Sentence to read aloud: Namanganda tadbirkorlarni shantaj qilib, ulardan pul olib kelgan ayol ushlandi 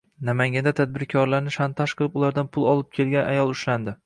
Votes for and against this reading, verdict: 2, 0, accepted